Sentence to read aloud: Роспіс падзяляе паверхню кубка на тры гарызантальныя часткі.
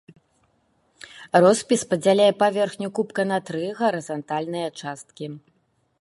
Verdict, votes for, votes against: accepted, 2, 0